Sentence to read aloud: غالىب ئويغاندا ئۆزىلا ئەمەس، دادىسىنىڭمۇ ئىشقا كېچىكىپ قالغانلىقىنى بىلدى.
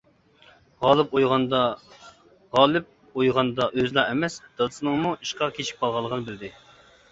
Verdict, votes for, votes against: rejected, 0, 2